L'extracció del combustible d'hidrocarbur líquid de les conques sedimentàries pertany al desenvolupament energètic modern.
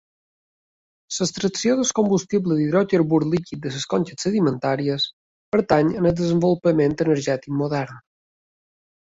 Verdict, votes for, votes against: accepted, 4, 0